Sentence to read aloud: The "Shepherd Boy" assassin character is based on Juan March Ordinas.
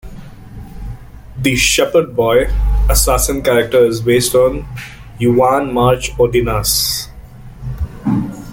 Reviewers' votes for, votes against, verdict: 1, 2, rejected